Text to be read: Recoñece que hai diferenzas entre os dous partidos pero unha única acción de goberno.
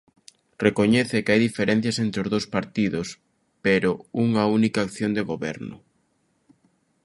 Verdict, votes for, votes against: rejected, 0, 2